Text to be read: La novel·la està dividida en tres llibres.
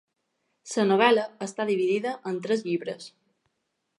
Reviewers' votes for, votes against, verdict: 1, 2, rejected